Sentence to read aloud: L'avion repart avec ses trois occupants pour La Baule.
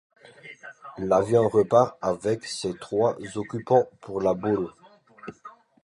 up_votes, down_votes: 2, 0